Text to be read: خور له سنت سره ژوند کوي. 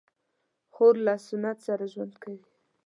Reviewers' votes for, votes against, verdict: 2, 0, accepted